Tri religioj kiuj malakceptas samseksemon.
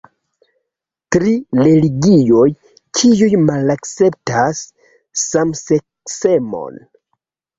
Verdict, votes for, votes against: rejected, 2, 3